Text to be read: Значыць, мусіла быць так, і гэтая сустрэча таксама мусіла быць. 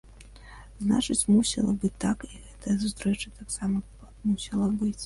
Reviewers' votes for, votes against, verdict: 1, 2, rejected